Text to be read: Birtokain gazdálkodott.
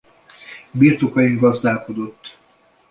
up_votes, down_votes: 2, 1